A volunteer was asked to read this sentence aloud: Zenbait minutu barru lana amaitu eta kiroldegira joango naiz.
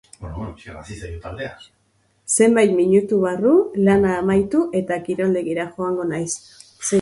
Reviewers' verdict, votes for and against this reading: rejected, 0, 2